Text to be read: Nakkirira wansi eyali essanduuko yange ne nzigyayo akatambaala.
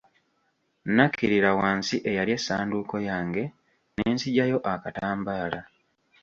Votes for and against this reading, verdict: 0, 2, rejected